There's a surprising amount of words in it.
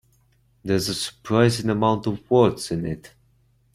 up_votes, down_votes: 2, 0